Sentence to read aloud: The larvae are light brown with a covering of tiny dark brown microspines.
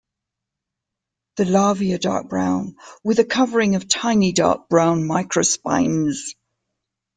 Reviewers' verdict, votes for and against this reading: rejected, 0, 2